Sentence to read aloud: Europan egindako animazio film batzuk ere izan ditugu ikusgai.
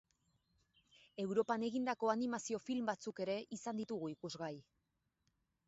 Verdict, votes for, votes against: accepted, 4, 0